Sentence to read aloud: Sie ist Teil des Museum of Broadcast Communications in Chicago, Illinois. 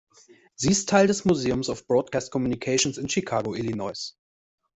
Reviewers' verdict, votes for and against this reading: rejected, 1, 2